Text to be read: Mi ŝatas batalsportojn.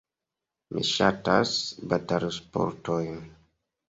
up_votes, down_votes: 2, 1